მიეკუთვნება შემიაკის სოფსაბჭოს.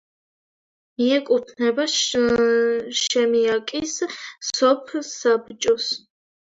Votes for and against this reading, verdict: 1, 2, rejected